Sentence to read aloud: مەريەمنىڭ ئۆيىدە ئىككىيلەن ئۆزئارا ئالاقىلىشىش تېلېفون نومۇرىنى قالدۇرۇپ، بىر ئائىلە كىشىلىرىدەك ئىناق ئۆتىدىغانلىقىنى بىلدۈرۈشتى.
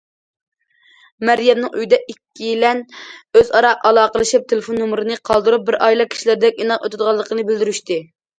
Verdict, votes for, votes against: rejected, 0, 2